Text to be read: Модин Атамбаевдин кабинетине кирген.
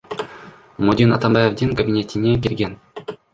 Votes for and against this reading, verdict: 2, 1, accepted